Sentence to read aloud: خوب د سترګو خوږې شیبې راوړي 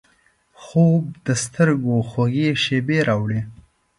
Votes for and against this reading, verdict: 2, 0, accepted